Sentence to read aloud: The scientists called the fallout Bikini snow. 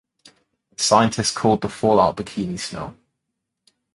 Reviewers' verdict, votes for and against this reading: accepted, 2, 0